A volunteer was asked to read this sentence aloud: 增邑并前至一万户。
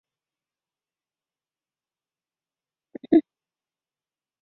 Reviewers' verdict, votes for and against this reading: rejected, 0, 3